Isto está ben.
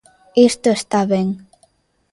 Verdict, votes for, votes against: accepted, 2, 0